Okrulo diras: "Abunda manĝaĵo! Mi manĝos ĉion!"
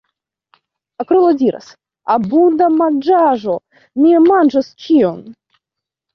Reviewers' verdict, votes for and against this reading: rejected, 0, 2